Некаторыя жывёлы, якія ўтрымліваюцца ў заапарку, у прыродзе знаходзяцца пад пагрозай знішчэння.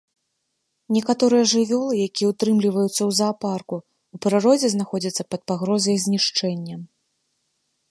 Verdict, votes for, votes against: accepted, 2, 0